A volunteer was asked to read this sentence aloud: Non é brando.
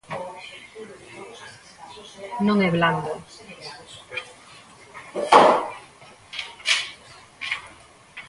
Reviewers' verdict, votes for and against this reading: rejected, 0, 2